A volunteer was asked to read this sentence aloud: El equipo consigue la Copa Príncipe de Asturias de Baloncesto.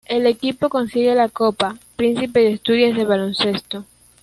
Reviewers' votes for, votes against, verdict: 3, 1, accepted